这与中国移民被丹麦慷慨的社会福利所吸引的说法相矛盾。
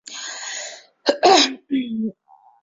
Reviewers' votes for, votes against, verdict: 0, 3, rejected